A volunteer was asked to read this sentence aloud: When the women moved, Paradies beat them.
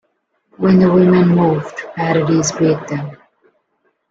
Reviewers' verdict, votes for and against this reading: rejected, 0, 2